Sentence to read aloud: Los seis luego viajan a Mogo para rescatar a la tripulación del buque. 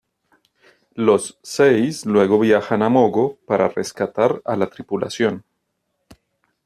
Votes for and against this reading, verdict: 0, 2, rejected